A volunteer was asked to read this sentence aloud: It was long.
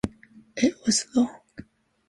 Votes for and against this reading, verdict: 2, 1, accepted